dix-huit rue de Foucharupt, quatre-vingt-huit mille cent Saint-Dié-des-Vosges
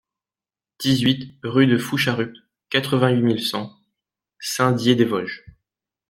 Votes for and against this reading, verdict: 2, 0, accepted